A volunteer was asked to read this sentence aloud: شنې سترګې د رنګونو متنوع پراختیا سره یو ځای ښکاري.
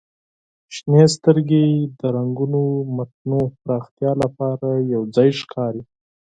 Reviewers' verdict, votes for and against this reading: rejected, 4, 10